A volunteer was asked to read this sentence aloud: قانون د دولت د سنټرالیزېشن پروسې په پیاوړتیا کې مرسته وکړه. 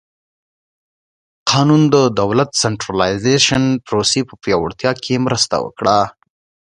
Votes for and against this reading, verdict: 2, 0, accepted